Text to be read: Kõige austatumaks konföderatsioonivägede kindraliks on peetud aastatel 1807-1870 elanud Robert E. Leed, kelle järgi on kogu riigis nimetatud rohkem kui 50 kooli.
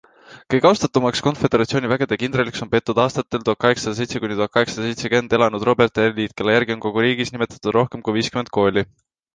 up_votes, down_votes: 0, 2